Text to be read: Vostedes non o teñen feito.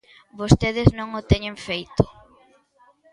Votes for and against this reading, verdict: 2, 0, accepted